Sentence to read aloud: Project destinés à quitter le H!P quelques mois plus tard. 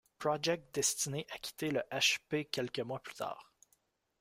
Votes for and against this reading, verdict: 2, 0, accepted